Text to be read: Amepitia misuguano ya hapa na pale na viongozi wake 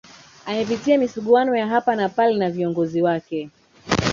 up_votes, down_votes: 2, 1